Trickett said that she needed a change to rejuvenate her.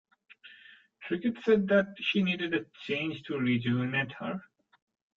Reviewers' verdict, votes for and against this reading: accepted, 3, 0